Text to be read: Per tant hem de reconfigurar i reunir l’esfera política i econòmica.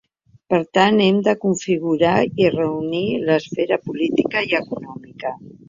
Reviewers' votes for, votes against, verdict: 2, 4, rejected